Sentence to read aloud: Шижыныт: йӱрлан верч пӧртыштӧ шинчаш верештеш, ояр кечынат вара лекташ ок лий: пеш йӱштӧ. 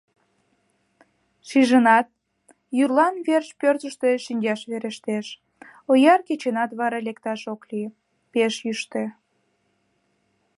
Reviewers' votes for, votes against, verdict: 2, 1, accepted